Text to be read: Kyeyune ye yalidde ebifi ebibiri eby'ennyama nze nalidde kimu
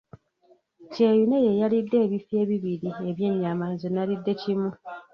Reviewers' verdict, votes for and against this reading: rejected, 1, 2